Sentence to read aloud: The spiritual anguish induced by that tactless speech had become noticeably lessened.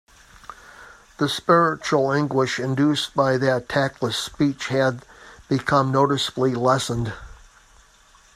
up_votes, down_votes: 2, 0